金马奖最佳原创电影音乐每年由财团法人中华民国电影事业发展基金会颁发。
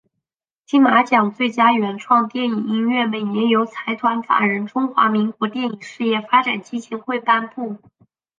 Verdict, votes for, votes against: rejected, 2, 2